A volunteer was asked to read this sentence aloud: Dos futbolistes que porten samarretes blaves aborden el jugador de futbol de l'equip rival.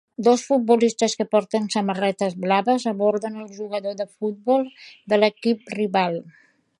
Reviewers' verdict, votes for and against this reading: accepted, 2, 0